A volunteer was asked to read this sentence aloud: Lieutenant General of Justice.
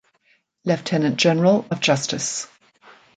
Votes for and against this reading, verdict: 2, 0, accepted